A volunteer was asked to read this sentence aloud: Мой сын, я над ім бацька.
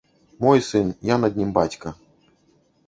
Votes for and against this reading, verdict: 0, 2, rejected